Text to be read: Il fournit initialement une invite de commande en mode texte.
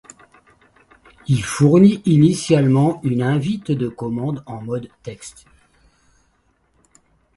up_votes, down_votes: 2, 0